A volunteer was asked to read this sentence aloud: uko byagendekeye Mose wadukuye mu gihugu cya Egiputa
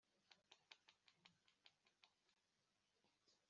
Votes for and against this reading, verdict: 0, 2, rejected